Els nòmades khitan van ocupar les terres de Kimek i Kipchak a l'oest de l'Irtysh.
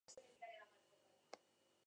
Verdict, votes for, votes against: rejected, 0, 4